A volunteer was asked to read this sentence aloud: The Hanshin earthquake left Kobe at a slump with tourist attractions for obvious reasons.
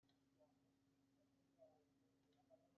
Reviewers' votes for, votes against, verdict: 0, 2, rejected